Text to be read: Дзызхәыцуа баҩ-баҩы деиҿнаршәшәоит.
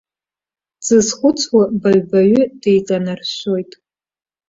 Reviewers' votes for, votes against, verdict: 0, 2, rejected